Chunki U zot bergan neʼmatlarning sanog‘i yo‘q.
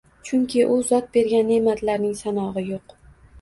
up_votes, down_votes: 2, 0